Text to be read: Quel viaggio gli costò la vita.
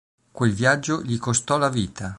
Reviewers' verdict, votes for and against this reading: accepted, 2, 0